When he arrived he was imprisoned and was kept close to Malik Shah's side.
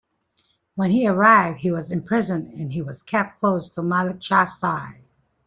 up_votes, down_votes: 3, 4